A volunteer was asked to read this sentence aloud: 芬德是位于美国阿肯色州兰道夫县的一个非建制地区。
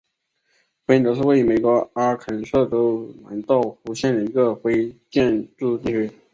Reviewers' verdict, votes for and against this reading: rejected, 1, 2